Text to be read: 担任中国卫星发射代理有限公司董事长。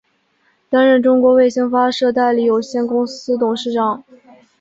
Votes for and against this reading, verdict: 10, 0, accepted